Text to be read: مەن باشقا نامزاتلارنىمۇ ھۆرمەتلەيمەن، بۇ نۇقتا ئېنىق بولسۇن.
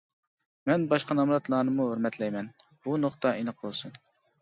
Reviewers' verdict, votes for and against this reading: rejected, 1, 3